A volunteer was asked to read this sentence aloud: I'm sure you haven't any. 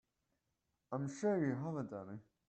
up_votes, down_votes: 1, 2